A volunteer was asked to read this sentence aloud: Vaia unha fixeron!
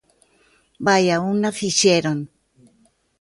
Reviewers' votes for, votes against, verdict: 2, 0, accepted